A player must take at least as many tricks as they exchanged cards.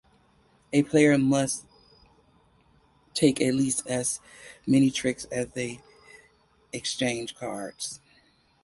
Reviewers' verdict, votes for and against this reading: accepted, 4, 2